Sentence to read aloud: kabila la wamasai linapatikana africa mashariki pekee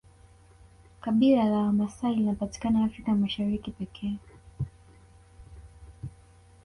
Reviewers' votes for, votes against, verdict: 0, 2, rejected